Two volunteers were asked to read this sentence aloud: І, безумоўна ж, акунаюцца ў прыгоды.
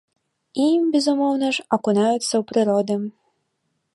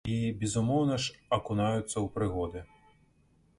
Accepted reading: second